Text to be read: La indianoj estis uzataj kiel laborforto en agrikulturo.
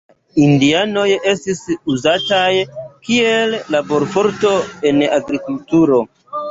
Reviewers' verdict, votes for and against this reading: accepted, 2, 0